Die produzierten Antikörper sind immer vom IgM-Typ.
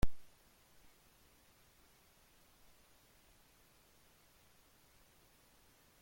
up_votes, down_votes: 0, 2